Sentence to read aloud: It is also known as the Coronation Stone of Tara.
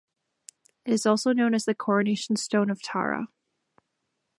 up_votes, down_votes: 2, 0